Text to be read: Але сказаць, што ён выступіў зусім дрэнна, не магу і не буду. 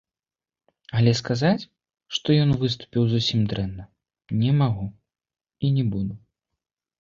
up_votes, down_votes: 2, 0